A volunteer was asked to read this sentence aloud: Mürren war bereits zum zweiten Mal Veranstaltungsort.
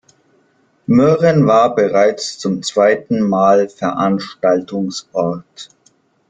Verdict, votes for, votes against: accepted, 2, 1